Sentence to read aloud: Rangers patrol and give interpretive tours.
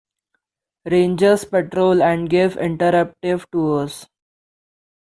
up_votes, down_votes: 0, 2